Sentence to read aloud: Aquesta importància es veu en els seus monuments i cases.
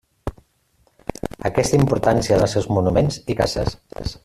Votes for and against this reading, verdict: 0, 2, rejected